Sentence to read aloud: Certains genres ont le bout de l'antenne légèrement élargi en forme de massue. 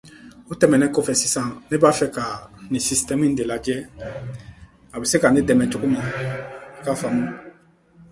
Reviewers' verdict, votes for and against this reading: rejected, 0, 2